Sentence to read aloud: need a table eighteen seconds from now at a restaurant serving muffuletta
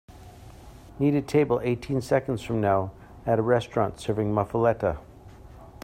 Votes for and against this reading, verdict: 2, 0, accepted